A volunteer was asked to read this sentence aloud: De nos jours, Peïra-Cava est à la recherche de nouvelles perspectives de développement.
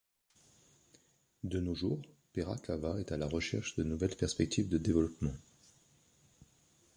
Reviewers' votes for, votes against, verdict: 2, 0, accepted